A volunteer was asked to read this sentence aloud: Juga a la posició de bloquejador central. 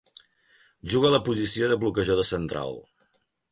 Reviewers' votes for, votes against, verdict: 3, 0, accepted